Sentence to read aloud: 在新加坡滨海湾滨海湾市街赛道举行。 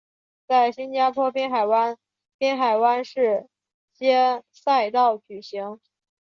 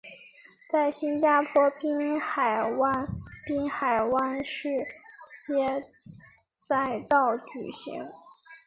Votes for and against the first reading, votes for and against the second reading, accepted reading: 0, 2, 3, 0, second